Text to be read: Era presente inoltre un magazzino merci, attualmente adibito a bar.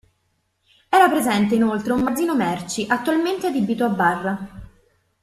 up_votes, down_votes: 0, 2